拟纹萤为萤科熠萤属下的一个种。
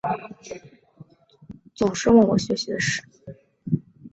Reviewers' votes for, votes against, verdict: 0, 2, rejected